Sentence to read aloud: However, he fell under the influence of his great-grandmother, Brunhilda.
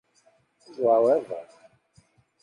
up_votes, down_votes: 0, 2